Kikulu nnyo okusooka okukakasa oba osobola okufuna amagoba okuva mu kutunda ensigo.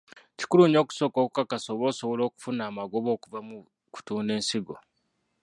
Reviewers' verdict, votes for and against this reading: rejected, 0, 2